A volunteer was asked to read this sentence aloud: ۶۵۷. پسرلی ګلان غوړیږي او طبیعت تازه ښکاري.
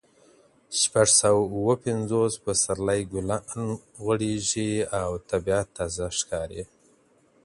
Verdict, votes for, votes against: rejected, 0, 2